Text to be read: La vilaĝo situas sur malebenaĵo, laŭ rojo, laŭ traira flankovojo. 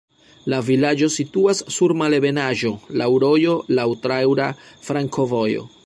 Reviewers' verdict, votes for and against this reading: rejected, 1, 2